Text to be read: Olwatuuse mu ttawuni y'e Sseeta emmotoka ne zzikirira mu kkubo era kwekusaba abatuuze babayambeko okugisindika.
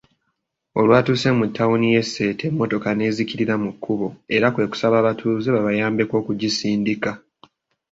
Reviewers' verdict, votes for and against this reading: accepted, 2, 0